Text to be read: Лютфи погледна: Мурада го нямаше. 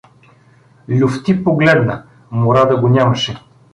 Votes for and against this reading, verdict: 1, 2, rejected